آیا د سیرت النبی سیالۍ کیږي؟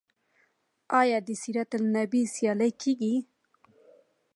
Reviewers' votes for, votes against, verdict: 2, 0, accepted